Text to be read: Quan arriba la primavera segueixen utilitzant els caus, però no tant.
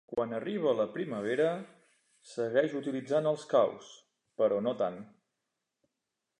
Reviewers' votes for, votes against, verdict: 1, 2, rejected